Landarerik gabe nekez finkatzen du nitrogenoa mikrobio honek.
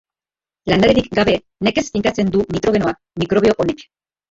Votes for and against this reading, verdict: 0, 2, rejected